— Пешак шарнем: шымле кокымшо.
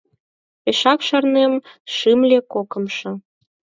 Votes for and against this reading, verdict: 2, 4, rejected